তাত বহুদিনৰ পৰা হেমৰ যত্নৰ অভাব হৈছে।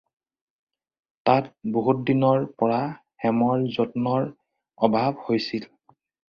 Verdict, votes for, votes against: rejected, 0, 4